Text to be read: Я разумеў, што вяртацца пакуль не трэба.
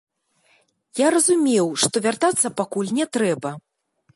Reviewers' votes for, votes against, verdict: 2, 0, accepted